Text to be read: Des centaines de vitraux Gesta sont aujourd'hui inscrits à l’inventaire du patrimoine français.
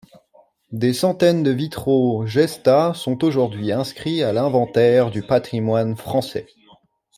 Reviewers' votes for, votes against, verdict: 2, 0, accepted